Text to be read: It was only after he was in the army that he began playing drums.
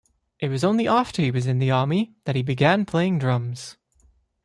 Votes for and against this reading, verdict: 2, 0, accepted